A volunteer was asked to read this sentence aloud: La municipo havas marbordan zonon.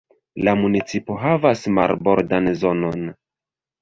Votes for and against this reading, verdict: 1, 2, rejected